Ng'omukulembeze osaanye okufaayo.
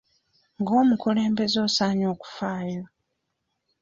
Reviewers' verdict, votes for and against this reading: accepted, 2, 0